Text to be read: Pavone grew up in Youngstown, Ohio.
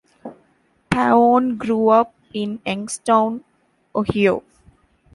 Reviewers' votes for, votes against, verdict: 0, 2, rejected